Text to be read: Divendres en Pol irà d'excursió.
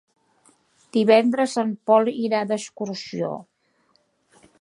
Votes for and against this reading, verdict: 3, 0, accepted